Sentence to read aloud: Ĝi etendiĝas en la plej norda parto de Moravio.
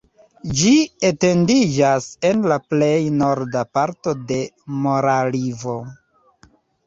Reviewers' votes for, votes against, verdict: 0, 2, rejected